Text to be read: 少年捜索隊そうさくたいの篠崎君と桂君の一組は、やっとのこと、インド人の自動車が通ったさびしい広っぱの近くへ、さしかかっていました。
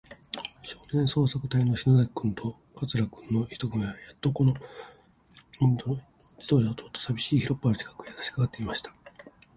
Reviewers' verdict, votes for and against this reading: accepted, 6, 3